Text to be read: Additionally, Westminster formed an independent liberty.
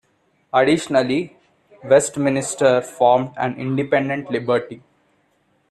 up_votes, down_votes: 0, 2